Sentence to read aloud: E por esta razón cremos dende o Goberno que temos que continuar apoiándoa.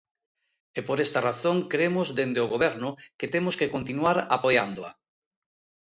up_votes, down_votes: 2, 0